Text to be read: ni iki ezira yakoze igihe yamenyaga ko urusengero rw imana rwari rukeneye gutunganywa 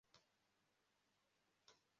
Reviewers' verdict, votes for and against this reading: rejected, 0, 2